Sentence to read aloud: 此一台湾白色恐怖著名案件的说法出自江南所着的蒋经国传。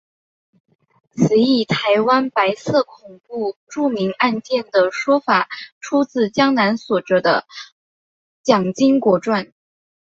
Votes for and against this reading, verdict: 2, 0, accepted